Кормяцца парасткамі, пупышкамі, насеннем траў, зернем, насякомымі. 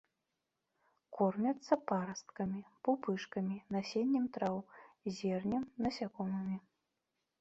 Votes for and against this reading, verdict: 2, 0, accepted